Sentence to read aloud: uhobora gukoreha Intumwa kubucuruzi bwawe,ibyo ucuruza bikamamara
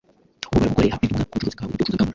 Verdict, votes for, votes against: rejected, 1, 2